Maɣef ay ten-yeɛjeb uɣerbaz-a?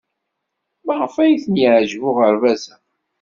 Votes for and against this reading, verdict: 2, 0, accepted